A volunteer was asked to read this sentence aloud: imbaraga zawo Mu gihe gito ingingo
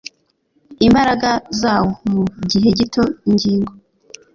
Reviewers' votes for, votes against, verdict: 2, 0, accepted